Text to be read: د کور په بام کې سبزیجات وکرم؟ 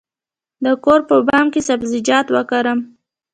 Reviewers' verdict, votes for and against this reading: accepted, 3, 0